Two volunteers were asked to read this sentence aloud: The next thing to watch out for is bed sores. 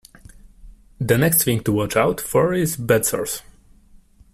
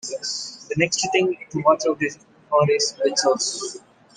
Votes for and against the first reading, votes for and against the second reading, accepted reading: 2, 0, 1, 2, first